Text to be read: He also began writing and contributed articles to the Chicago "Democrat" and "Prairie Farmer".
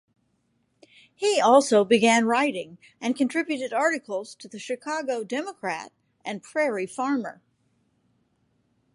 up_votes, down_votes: 2, 0